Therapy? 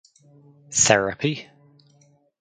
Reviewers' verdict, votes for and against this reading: accepted, 4, 0